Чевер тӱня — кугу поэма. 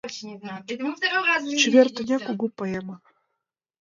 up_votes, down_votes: 1, 4